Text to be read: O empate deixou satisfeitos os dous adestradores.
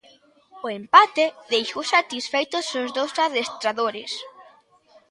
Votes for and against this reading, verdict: 2, 1, accepted